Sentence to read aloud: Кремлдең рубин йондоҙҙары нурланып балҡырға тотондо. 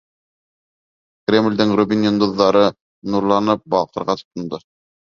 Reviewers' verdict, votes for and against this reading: accepted, 2, 0